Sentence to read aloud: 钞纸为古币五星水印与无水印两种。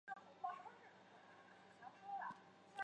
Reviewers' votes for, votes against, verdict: 0, 2, rejected